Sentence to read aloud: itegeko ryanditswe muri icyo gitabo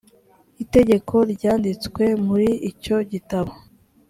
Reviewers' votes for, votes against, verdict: 3, 0, accepted